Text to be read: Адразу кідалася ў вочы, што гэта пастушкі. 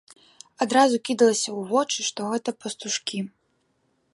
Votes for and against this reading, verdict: 0, 2, rejected